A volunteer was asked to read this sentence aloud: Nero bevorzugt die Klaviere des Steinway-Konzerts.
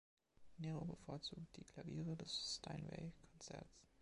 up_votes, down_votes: 1, 2